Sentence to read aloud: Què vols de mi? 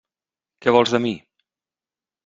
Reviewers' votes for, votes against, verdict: 3, 1, accepted